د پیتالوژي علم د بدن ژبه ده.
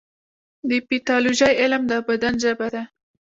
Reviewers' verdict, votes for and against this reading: rejected, 1, 2